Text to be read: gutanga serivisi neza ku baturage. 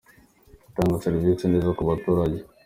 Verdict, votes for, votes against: accepted, 2, 0